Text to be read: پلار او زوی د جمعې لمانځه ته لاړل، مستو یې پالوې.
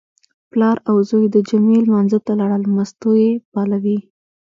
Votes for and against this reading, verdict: 2, 1, accepted